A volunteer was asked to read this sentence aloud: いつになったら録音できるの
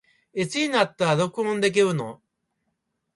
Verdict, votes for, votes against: rejected, 0, 2